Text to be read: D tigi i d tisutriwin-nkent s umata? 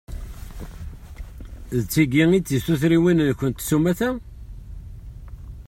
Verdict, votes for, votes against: accepted, 2, 0